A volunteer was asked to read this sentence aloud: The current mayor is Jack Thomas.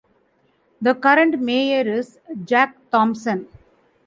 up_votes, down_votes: 0, 2